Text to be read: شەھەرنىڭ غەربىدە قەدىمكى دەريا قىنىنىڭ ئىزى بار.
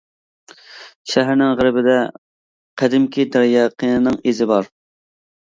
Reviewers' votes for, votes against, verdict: 2, 0, accepted